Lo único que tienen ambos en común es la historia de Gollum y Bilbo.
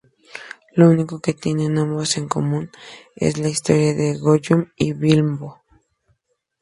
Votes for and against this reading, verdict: 2, 0, accepted